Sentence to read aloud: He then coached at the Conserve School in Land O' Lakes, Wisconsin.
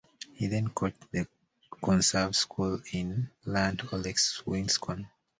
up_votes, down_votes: 0, 2